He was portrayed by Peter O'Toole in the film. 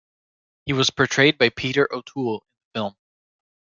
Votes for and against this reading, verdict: 1, 2, rejected